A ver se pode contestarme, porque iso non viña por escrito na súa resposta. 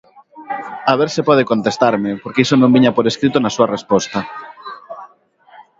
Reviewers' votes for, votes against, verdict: 1, 2, rejected